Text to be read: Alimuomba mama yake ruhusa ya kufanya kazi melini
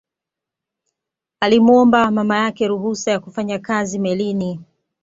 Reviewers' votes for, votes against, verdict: 2, 0, accepted